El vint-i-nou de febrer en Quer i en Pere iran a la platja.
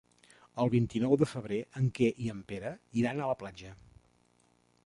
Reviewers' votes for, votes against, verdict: 1, 2, rejected